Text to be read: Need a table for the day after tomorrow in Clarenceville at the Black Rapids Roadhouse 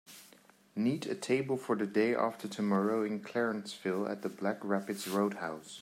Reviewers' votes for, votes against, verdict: 2, 1, accepted